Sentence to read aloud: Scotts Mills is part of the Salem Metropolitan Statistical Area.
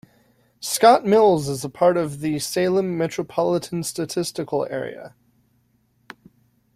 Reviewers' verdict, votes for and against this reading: rejected, 1, 2